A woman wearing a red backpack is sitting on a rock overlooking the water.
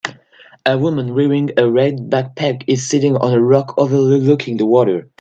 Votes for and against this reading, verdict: 0, 2, rejected